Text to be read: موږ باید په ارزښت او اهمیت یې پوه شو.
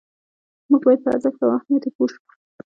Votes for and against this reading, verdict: 1, 2, rejected